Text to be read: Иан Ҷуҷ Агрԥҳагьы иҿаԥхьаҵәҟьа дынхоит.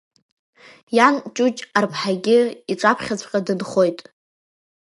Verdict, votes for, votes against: rejected, 0, 2